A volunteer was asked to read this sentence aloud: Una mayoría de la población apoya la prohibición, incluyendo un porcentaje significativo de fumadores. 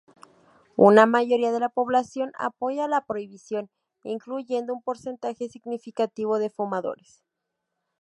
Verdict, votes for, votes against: accepted, 2, 0